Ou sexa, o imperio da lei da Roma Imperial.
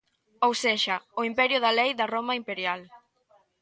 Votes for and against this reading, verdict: 1, 2, rejected